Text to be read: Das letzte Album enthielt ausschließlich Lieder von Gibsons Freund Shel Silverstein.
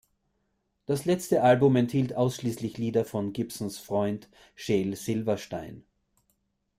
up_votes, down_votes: 1, 2